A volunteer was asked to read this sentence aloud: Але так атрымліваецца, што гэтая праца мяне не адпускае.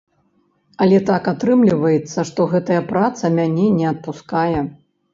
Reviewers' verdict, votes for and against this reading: accepted, 3, 0